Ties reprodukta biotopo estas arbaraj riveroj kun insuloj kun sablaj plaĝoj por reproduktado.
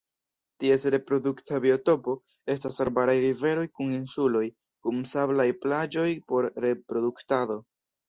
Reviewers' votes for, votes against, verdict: 2, 0, accepted